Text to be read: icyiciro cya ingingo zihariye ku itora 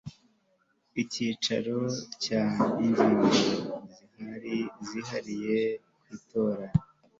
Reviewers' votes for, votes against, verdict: 0, 2, rejected